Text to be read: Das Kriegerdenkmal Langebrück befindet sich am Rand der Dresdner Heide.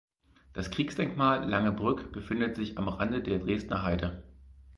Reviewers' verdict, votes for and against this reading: rejected, 2, 4